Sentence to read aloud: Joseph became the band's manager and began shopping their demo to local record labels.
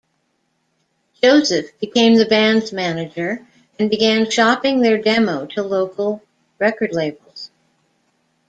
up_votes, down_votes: 2, 0